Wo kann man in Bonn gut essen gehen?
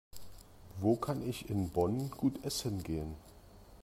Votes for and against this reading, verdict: 0, 2, rejected